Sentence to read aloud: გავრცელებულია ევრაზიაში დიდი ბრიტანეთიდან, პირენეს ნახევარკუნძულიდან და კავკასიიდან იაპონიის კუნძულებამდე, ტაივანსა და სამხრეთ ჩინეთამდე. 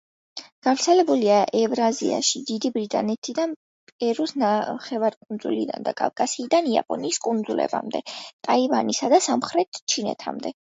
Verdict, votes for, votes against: rejected, 0, 2